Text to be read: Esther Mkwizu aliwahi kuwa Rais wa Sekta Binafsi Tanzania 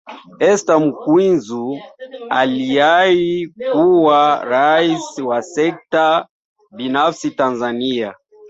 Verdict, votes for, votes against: rejected, 1, 2